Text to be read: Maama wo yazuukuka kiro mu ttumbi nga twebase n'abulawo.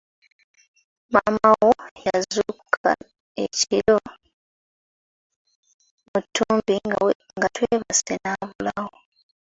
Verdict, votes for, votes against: rejected, 0, 2